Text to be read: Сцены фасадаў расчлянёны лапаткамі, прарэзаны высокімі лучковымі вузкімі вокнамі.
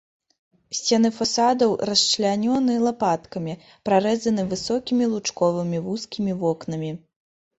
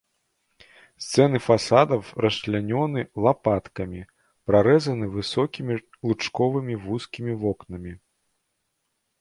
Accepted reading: first